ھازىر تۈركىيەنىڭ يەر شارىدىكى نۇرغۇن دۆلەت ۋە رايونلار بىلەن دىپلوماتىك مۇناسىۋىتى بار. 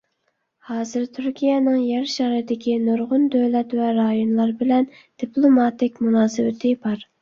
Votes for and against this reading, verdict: 2, 0, accepted